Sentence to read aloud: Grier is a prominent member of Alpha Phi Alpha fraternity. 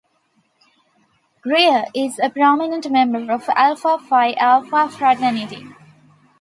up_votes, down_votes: 2, 1